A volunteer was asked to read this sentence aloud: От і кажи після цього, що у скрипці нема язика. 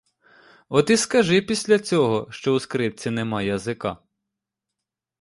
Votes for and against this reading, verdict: 0, 2, rejected